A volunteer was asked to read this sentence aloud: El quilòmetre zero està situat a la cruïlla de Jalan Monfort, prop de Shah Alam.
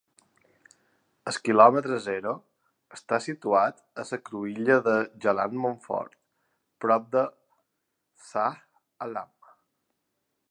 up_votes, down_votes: 1, 3